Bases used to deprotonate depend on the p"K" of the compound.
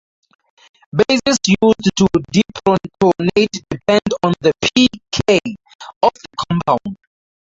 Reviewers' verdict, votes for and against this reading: accepted, 2, 0